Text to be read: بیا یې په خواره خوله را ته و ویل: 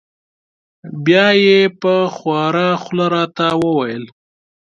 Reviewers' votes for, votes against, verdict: 2, 0, accepted